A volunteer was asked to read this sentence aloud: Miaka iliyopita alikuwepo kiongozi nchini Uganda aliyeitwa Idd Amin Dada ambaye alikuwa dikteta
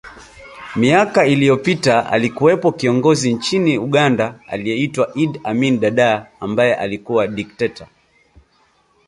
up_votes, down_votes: 2, 0